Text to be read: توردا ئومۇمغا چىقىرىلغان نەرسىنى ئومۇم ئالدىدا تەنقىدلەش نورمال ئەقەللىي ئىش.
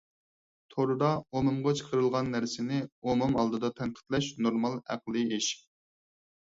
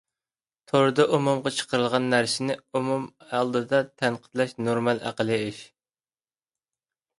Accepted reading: second